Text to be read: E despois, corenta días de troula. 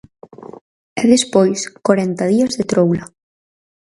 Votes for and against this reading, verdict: 4, 0, accepted